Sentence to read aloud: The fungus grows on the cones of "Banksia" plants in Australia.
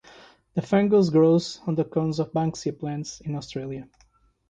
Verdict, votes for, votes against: accepted, 3, 0